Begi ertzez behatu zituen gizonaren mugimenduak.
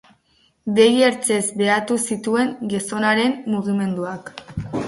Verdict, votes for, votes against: accepted, 4, 0